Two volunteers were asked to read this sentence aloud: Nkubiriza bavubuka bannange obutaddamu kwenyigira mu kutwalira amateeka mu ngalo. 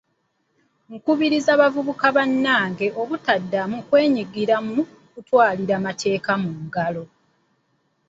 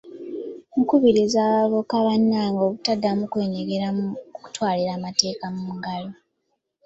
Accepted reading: second